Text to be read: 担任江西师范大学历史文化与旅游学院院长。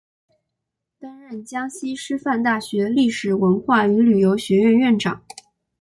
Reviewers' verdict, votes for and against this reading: accepted, 2, 1